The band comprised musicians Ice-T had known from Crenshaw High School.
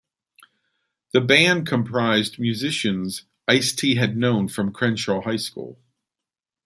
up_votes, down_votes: 2, 0